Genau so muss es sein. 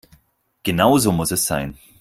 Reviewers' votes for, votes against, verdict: 4, 0, accepted